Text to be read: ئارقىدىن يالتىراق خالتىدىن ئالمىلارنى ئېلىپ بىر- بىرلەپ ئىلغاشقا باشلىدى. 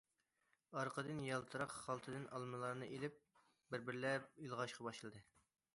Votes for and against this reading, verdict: 2, 0, accepted